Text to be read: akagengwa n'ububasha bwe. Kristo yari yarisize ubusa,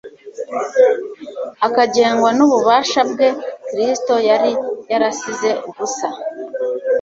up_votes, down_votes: 1, 2